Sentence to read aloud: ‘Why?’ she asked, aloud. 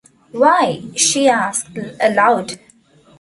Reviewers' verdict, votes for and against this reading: rejected, 0, 2